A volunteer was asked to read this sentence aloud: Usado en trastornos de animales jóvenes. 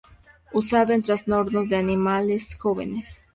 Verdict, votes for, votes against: rejected, 0, 2